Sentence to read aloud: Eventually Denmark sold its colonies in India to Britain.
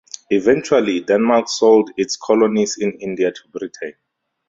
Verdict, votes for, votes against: accepted, 2, 0